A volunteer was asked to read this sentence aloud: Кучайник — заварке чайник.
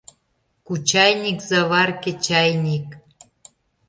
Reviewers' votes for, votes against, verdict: 2, 0, accepted